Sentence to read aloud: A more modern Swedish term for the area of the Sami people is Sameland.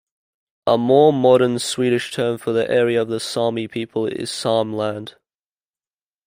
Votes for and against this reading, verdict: 2, 0, accepted